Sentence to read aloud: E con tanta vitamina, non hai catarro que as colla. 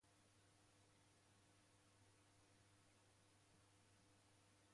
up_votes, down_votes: 0, 2